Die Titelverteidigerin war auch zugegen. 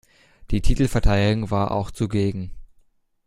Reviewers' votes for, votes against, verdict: 0, 2, rejected